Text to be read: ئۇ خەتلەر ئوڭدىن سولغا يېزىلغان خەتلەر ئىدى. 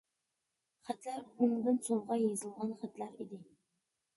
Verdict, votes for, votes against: rejected, 0, 2